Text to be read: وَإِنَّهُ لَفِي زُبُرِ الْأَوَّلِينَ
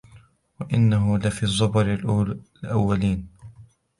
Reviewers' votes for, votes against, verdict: 0, 2, rejected